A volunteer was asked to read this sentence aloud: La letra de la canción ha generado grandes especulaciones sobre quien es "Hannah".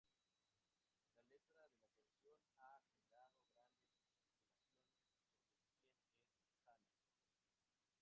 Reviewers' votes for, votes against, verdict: 0, 2, rejected